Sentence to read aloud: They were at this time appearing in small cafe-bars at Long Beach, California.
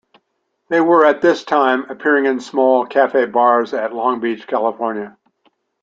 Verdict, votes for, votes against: accepted, 2, 0